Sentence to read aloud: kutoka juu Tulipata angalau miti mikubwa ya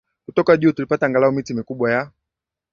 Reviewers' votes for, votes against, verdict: 2, 0, accepted